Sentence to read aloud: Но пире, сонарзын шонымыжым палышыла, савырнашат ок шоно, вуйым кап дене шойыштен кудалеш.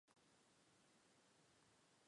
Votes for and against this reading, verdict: 0, 2, rejected